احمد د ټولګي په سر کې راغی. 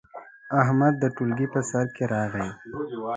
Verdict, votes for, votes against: rejected, 1, 2